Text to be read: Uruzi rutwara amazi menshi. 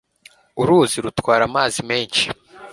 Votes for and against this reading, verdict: 2, 0, accepted